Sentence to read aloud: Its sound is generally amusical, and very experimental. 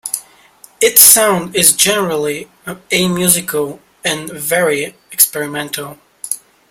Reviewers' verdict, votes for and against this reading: accepted, 2, 0